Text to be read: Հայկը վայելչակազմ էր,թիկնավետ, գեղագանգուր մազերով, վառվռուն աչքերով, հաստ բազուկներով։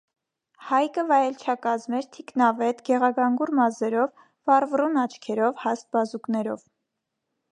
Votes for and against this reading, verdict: 2, 0, accepted